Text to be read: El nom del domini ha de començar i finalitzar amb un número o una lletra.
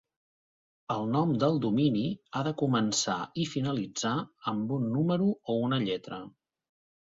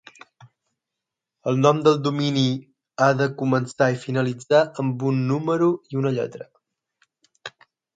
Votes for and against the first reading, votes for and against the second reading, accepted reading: 4, 0, 3, 6, first